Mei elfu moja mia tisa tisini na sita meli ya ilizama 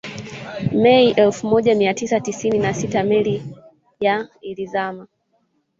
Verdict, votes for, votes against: accepted, 2, 0